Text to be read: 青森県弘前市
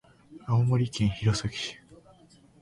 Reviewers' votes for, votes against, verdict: 2, 0, accepted